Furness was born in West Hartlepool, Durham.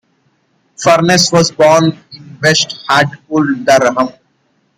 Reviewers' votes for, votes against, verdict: 0, 2, rejected